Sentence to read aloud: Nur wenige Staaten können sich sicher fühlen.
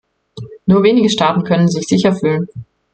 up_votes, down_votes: 2, 0